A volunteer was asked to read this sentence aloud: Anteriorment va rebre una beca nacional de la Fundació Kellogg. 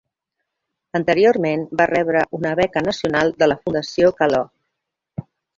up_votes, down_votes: 2, 1